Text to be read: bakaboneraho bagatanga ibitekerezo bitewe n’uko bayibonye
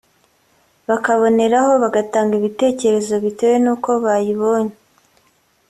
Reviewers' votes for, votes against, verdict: 2, 0, accepted